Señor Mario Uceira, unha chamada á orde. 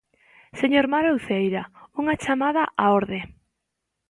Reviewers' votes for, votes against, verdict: 2, 1, accepted